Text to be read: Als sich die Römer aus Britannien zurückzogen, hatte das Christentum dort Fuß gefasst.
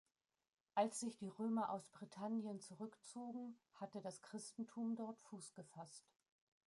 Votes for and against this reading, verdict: 2, 1, accepted